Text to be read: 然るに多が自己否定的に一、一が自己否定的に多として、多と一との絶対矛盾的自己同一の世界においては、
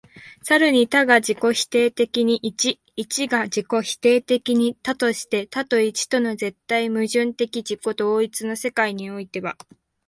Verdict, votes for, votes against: rejected, 1, 2